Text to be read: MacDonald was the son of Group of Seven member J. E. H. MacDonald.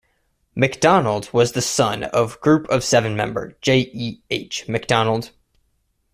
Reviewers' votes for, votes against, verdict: 2, 0, accepted